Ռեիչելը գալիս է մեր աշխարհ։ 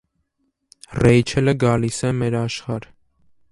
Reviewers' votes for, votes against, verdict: 0, 2, rejected